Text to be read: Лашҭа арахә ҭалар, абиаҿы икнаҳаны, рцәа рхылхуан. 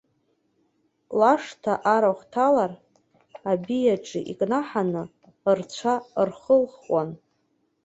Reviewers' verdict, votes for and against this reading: accepted, 2, 0